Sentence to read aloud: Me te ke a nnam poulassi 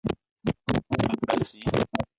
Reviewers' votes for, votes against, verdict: 0, 2, rejected